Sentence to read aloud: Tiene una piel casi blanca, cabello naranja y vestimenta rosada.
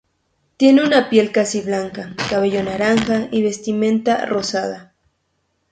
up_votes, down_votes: 4, 0